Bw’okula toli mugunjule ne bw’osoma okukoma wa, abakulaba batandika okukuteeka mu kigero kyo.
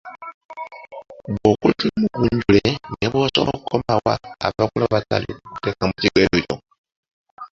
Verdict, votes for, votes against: rejected, 0, 2